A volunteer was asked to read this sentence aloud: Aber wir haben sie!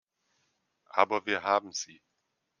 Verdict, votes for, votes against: accepted, 2, 0